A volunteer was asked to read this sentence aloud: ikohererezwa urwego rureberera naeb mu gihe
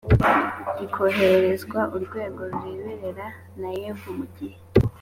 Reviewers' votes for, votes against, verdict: 2, 0, accepted